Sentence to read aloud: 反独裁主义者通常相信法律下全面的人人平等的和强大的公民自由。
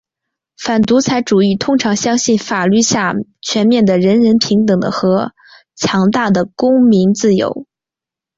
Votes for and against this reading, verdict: 3, 0, accepted